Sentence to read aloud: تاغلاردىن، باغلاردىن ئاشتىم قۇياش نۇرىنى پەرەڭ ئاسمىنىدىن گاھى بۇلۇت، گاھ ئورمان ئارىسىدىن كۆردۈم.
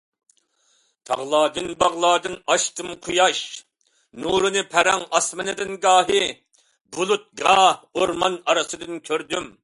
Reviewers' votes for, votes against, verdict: 2, 0, accepted